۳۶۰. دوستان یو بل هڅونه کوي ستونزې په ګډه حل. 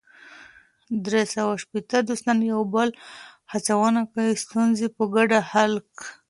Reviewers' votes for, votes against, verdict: 0, 2, rejected